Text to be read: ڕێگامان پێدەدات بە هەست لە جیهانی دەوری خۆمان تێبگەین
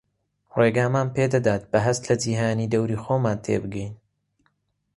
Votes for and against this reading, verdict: 3, 0, accepted